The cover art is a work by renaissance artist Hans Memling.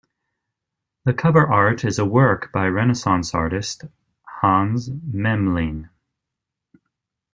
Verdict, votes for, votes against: accepted, 2, 0